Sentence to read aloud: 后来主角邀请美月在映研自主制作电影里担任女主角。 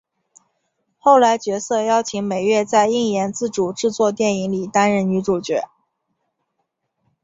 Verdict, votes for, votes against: rejected, 2, 2